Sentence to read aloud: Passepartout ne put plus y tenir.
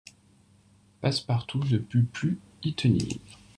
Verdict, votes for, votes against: rejected, 0, 2